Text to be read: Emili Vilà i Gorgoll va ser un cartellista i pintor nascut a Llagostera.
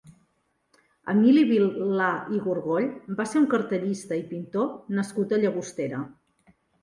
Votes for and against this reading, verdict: 2, 1, accepted